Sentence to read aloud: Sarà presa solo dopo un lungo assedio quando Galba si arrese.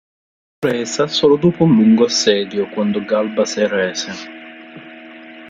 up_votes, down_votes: 0, 2